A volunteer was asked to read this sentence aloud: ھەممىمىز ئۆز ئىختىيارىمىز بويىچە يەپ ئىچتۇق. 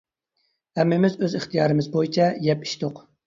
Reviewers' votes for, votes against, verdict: 2, 0, accepted